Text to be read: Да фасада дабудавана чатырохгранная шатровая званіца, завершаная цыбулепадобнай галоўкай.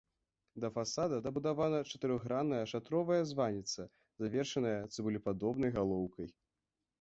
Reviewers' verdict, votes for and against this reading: rejected, 1, 2